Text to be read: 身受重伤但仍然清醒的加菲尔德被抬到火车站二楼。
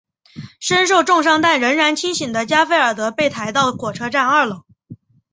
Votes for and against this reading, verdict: 3, 0, accepted